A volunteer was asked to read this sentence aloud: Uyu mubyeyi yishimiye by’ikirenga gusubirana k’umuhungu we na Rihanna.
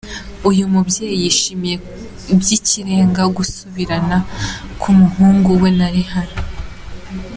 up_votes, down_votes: 2, 0